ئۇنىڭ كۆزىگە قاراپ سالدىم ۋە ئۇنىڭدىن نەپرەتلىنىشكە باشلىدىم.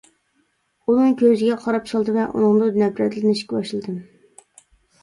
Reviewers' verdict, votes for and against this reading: rejected, 0, 2